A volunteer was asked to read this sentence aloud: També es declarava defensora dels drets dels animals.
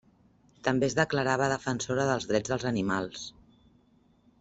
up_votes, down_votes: 3, 0